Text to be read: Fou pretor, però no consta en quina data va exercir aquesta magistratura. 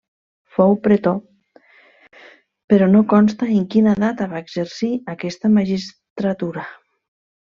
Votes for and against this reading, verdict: 1, 2, rejected